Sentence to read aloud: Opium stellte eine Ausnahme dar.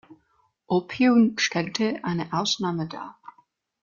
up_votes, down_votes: 2, 0